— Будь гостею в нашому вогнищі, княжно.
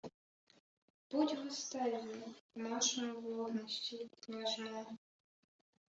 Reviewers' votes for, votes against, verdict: 0, 2, rejected